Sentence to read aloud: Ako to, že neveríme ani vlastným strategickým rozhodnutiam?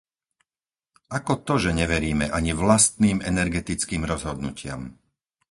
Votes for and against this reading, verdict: 0, 4, rejected